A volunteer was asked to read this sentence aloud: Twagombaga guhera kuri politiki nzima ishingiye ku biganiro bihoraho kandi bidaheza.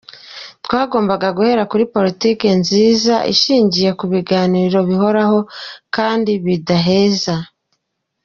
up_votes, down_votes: 0, 2